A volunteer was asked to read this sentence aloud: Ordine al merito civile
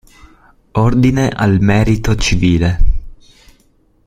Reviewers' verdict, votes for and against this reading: accepted, 2, 0